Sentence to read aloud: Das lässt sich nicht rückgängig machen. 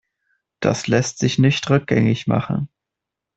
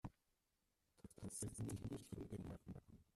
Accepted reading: first